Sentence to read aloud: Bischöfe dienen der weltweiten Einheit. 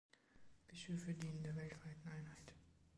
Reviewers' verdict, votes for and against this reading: accepted, 2, 0